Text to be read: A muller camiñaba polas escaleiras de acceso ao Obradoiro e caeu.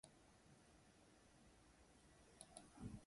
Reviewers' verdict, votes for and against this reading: rejected, 0, 2